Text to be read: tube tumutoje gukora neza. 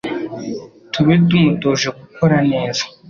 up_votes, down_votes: 3, 1